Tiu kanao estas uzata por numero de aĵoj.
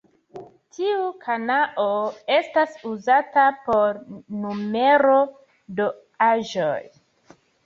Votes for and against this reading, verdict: 1, 2, rejected